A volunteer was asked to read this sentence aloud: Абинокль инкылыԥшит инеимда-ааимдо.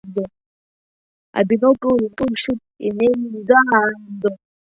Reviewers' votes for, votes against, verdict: 1, 4, rejected